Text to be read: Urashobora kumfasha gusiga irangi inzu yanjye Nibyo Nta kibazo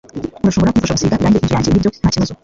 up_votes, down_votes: 1, 2